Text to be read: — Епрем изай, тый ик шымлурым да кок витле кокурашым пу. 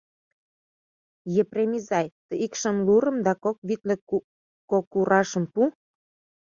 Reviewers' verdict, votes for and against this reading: rejected, 1, 2